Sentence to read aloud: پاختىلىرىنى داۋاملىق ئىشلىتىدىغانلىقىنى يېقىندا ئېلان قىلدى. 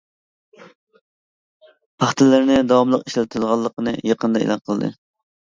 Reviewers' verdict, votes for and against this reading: accepted, 2, 0